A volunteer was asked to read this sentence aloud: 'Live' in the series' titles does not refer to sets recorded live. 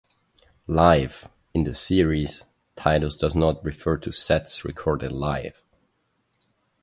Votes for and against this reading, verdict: 2, 0, accepted